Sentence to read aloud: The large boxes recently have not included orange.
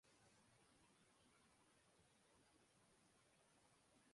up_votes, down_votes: 0, 2